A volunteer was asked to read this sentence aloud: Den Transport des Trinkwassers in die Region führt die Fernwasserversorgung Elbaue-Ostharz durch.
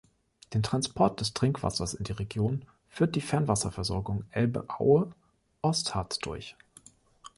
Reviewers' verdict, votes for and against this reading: rejected, 0, 2